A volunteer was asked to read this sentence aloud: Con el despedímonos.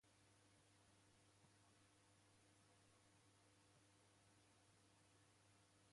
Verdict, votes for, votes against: rejected, 0, 2